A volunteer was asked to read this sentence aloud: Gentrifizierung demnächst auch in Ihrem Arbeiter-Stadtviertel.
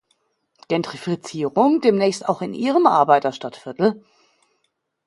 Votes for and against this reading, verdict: 2, 0, accepted